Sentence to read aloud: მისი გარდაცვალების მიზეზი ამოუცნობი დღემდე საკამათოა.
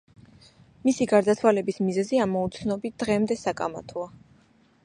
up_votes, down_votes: 2, 0